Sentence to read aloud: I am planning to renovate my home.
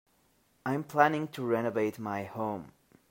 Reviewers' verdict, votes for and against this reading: rejected, 1, 2